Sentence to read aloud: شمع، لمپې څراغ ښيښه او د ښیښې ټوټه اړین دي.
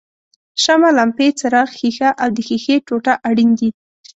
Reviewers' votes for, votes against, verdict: 2, 0, accepted